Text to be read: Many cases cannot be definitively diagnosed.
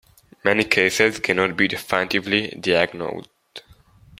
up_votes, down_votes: 0, 2